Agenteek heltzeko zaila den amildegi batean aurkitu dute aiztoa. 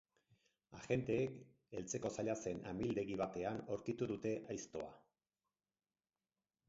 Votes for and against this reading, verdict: 2, 4, rejected